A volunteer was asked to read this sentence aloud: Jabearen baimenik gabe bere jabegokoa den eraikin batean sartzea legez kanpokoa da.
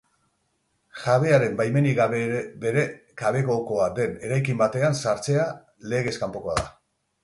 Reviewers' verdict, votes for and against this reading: accepted, 4, 0